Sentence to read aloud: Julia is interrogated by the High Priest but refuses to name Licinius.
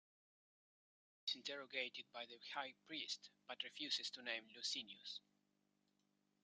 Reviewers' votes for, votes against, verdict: 1, 2, rejected